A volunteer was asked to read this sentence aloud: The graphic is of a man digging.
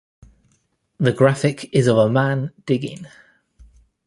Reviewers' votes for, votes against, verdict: 2, 0, accepted